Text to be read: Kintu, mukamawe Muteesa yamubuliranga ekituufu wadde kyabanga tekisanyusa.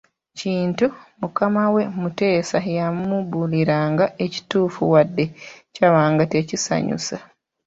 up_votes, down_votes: 1, 2